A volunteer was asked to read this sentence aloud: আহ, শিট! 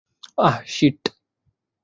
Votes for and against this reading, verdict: 2, 0, accepted